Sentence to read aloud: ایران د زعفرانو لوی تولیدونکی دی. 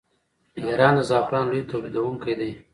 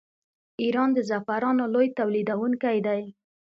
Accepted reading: second